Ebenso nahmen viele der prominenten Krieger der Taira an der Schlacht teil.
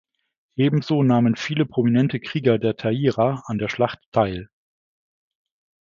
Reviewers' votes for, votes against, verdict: 0, 2, rejected